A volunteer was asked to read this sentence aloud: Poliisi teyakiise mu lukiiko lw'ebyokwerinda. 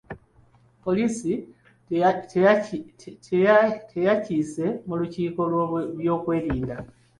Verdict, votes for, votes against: rejected, 0, 2